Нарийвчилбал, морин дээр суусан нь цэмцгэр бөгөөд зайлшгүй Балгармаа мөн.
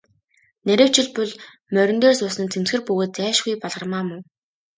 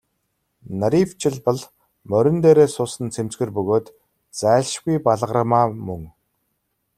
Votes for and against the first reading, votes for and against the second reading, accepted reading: 2, 0, 0, 2, first